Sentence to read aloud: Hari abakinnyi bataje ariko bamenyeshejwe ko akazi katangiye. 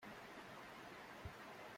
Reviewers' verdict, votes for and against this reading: rejected, 0, 2